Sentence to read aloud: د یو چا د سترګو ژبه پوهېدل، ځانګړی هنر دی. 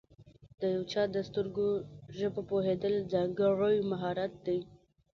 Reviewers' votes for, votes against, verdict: 1, 2, rejected